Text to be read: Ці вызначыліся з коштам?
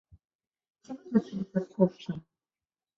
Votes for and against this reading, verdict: 1, 2, rejected